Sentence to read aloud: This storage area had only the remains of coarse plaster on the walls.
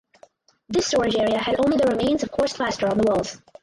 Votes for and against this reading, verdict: 2, 4, rejected